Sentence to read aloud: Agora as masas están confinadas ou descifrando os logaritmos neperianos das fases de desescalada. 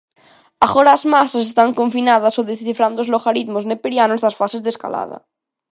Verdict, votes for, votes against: rejected, 1, 2